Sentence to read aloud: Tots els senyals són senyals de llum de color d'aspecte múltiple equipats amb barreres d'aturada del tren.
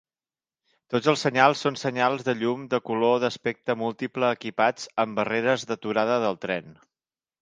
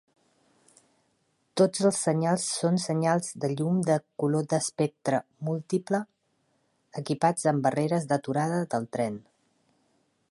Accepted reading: first